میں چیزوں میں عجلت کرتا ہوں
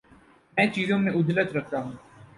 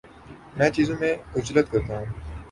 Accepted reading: second